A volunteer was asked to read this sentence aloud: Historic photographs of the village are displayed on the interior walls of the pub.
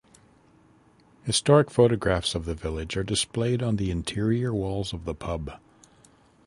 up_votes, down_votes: 2, 0